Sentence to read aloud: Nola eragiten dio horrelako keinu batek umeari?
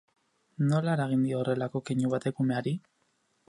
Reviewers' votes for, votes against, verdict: 2, 4, rejected